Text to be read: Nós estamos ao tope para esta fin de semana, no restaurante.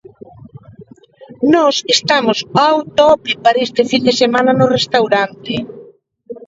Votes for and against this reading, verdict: 2, 1, accepted